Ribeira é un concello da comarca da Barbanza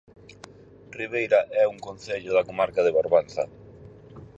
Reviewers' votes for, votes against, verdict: 0, 6, rejected